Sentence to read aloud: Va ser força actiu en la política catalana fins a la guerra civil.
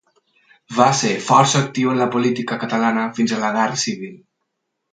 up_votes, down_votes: 4, 0